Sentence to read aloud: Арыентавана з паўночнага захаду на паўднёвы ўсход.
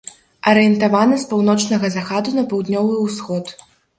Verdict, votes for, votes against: rejected, 0, 3